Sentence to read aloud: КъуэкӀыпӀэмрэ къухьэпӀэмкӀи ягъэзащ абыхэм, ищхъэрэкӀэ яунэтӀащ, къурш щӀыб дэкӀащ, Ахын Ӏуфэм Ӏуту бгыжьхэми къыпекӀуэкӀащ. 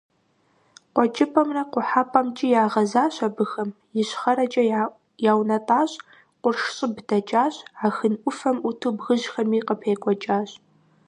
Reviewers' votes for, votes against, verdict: 1, 2, rejected